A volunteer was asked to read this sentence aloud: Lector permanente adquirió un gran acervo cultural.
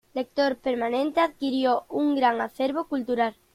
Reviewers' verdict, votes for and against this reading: rejected, 1, 2